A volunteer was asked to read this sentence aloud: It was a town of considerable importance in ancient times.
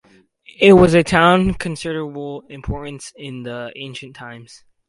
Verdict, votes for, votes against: rejected, 0, 4